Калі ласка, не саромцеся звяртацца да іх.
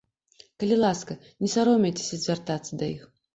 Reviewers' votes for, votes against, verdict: 0, 2, rejected